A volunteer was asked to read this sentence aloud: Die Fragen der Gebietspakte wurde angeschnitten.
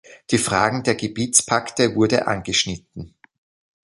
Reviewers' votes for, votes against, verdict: 2, 0, accepted